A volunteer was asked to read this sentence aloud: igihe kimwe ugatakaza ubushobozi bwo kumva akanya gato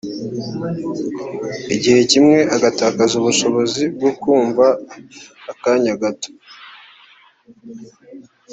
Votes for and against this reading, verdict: 1, 2, rejected